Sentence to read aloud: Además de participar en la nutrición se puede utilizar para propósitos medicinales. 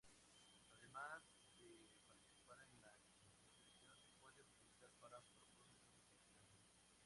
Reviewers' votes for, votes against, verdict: 0, 2, rejected